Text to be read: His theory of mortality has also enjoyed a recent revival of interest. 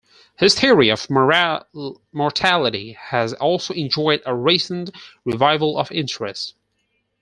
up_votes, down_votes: 2, 4